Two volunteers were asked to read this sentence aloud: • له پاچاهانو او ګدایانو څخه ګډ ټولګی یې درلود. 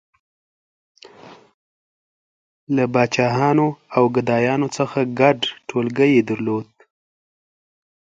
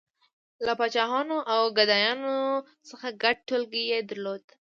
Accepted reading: first